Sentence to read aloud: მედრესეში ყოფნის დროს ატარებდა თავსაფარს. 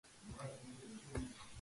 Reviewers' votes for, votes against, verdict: 0, 2, rejected